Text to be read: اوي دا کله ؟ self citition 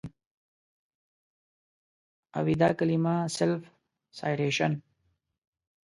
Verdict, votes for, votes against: rejected, 1, 2